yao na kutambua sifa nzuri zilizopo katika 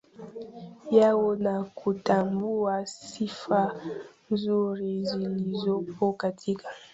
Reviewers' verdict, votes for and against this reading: rejected, 1, 2